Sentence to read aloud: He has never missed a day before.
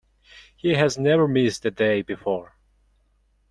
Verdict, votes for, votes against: accepted, 2, 0